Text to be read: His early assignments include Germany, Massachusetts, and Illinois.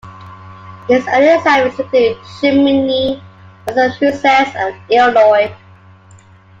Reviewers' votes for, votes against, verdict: 3, 2, accepted